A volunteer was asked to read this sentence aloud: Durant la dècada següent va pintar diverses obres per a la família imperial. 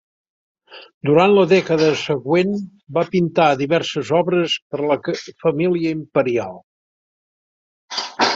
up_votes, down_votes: 1, 3